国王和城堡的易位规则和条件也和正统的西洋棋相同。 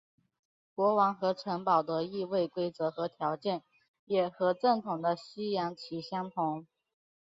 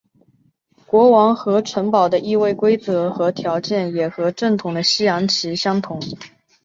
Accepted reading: first